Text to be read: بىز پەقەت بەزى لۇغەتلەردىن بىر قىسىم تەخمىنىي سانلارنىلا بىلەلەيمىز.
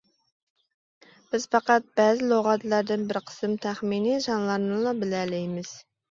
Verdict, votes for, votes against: accepted, 2, 0